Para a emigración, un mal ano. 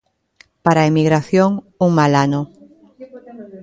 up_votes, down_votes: 2, 0